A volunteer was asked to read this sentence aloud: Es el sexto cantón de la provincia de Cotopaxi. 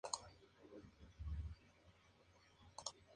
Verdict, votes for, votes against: accepted, 2, 0